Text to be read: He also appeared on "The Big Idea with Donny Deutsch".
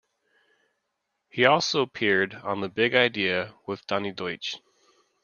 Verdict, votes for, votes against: accepted, 2, 0